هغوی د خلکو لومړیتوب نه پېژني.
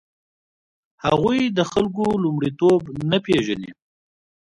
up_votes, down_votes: 2, 0